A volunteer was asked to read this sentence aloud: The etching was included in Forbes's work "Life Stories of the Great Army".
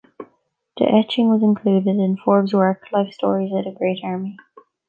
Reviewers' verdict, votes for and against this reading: rejected, 0, 2